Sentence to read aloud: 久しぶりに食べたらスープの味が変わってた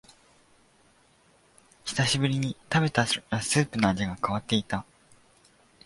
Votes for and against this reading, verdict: 0, 2, rejected